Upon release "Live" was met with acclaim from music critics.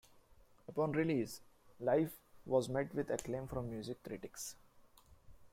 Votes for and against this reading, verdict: 1, 2, rejected